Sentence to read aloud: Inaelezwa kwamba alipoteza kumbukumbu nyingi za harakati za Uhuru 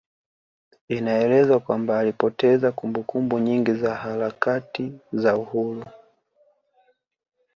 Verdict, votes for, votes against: accepted, 2, 0